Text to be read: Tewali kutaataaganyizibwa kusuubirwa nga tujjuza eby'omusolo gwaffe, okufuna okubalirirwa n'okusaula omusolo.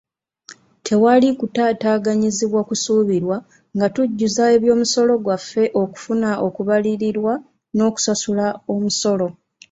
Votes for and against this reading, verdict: 0, 2, rejected